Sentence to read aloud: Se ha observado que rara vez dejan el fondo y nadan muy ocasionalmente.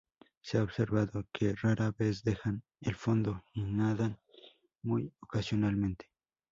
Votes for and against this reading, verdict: 0, 2, rejected